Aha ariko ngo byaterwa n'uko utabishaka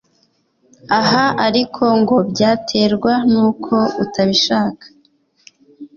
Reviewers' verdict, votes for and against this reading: accepted, 2, 1